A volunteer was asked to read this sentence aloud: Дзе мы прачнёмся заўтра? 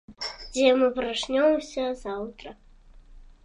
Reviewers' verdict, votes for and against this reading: accepted, 2, 0